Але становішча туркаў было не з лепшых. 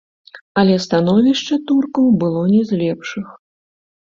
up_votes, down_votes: 1, 2